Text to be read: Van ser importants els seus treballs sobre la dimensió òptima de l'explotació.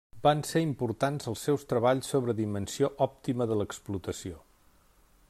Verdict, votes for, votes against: rejected, 0, 2